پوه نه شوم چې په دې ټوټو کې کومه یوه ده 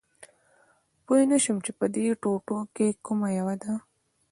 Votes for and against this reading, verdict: 2, 0, accepted